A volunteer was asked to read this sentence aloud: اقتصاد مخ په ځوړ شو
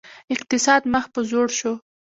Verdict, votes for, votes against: accepted, 2, 0